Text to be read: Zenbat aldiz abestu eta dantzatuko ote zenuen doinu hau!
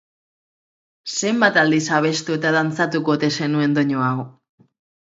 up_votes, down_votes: 4, 0